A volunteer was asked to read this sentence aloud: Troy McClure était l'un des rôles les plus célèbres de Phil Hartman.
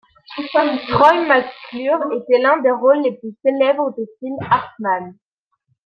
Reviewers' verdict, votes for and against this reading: rejected, 1, 2